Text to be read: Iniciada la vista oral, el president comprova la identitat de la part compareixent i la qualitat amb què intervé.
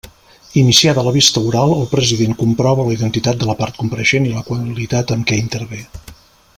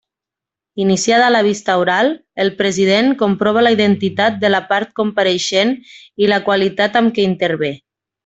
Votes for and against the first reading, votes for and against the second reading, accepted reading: 0, 2, 3, 0, second